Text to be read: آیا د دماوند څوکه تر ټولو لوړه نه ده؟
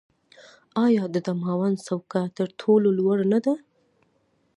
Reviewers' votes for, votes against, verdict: 0, 2, rejected